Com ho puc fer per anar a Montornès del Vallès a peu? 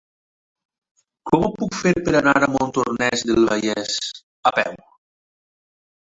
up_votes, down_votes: 1, 2